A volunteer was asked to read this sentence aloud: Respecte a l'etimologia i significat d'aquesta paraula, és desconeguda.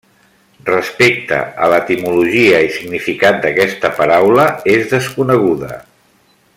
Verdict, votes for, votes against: accepted, 2, 0